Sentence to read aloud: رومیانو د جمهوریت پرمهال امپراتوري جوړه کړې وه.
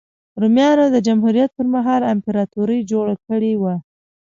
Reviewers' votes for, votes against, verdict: 2, 0, accepted